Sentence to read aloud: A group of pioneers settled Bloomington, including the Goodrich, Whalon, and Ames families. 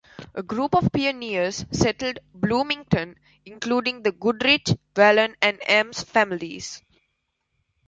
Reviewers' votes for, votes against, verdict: 1, 2, rejected